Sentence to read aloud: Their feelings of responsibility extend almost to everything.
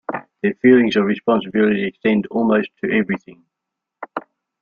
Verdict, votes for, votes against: accepted, 2, 0